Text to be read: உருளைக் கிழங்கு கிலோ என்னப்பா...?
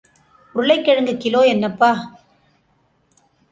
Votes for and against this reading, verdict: 2, 0, accepted